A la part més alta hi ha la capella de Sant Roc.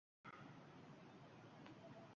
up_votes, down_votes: 0, 2